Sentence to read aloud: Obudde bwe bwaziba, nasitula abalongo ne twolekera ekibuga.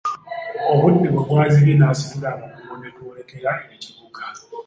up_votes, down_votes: 0, 2